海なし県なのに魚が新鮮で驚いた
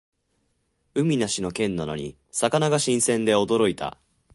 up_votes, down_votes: 1, 2